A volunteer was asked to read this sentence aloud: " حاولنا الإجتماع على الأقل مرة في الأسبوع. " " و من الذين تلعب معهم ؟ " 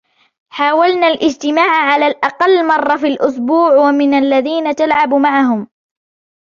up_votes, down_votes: 1, 2